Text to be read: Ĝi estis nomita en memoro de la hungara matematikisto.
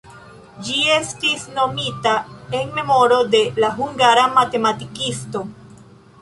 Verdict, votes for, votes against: rejected, 0, 2